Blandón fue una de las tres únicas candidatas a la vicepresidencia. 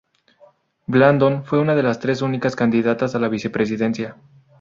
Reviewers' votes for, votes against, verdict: 2, 0, accepted